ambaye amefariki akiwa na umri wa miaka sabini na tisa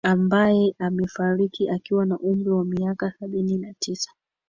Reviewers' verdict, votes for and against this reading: accepted, 2, 0